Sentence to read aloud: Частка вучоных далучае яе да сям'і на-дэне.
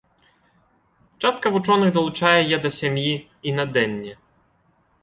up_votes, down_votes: 0, 2